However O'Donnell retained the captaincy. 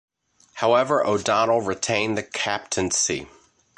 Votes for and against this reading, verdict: 2, 0, accepted